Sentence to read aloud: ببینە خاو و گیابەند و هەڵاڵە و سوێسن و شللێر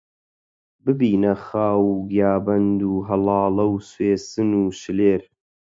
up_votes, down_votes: 4, 0